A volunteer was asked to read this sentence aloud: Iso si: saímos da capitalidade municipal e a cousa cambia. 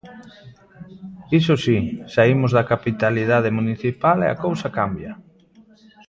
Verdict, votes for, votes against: accepted, 2, 0